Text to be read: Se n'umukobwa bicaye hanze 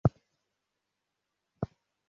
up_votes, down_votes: 0, 2